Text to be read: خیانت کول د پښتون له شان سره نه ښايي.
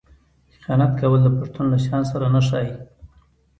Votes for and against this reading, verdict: 2, 1, accepted